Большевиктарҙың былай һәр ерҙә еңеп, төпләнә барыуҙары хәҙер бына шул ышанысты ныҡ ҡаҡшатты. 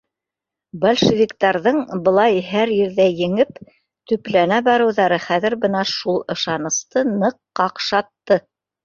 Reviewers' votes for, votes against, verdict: 0, 2, rejected